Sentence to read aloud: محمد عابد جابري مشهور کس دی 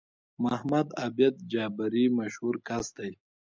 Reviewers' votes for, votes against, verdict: 0, 2, rejected